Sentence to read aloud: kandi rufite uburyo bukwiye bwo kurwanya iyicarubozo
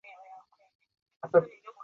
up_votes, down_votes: 0, 2